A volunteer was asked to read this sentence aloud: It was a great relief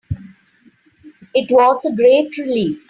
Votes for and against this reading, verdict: 3, 0, accepted